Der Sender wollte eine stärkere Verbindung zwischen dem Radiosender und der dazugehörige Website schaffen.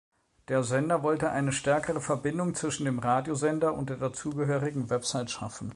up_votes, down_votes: 1, 2